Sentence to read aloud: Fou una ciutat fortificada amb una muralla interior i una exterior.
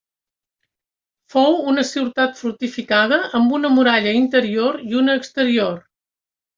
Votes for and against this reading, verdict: 3, 0, accepted